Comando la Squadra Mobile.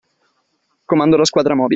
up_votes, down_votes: 0, 2